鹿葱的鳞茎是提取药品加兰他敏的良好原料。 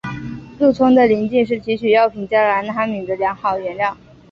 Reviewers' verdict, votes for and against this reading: accepted, 4, 1